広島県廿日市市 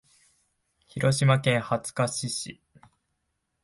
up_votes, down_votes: 0, 2